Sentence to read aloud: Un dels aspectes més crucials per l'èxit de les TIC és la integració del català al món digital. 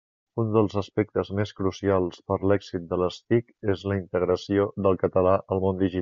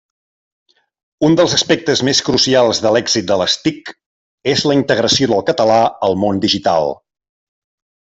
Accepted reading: second